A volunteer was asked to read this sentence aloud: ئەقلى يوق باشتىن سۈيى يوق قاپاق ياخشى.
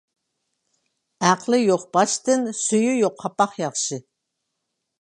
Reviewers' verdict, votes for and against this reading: accepted, 2, 0